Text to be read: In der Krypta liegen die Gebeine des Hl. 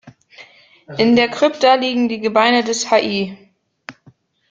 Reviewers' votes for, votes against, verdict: 1, 2, rejected